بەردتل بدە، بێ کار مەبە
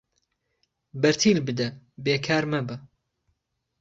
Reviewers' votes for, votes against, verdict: 1, 2, rejected